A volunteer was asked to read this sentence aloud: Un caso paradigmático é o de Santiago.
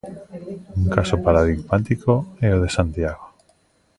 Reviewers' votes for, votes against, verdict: 2, 1, accepted